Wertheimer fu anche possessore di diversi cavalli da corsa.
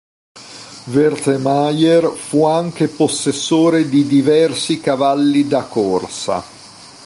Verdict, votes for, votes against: rejected, 1, 2